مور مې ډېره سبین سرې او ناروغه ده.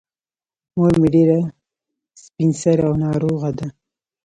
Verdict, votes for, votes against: rejected, 0, 2